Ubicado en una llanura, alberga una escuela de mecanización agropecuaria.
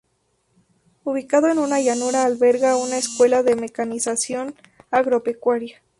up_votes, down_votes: 0, 2